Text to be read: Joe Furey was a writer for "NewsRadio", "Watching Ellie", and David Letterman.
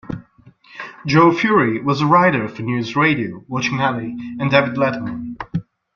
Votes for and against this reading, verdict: 2, 0, accepted